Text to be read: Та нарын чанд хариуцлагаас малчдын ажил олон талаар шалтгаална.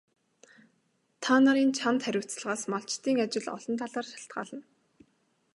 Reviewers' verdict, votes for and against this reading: accepted, 2, 0